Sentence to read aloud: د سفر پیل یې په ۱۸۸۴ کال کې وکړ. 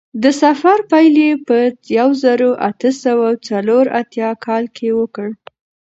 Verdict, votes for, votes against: rejected, 0, 2